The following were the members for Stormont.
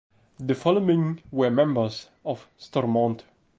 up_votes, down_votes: 1, 2